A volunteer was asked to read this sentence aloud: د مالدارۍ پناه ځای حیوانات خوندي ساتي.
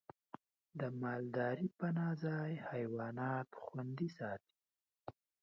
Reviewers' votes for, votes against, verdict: 2, 0, accepted